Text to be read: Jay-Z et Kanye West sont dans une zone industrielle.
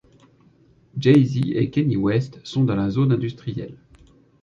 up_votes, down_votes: 2, 0